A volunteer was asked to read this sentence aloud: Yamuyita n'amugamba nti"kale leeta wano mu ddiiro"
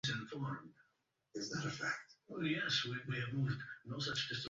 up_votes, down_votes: 1, 2